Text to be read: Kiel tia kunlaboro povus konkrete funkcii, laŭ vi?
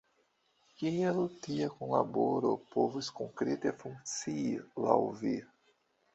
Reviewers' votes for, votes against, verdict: 2, 0, accepted